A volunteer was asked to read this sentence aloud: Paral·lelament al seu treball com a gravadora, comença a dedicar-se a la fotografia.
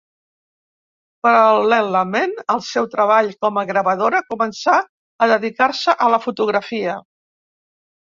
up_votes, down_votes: 0, 2